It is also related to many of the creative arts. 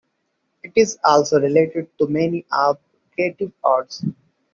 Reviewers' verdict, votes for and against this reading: accepted, 2, 0